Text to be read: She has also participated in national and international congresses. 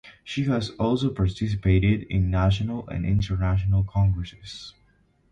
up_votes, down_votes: 2, 0